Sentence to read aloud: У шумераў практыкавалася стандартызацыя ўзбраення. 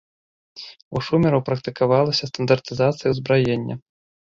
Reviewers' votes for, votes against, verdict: 0, 2, rejected